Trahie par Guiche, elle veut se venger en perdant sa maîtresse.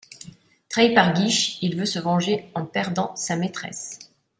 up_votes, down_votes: 0, 2